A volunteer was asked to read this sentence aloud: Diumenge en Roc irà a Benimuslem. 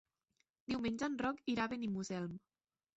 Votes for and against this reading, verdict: 2, 3, rejected